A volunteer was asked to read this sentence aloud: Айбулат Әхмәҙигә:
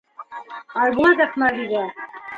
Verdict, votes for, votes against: rejected, 1, 2